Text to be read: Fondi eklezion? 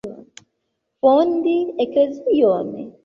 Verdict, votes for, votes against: accepted, 3, 2